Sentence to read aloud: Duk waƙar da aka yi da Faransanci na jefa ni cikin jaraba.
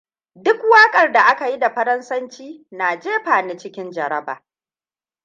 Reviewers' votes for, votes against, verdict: 2, 0, accepted